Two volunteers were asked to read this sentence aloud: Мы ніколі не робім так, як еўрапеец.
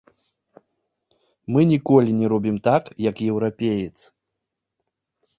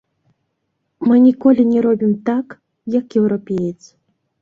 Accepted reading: first